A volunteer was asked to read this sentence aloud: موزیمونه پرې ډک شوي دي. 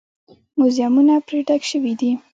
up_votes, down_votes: 2, 0